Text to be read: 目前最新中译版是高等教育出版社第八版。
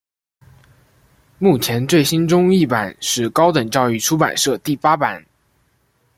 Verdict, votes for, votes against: rejected, 0, 2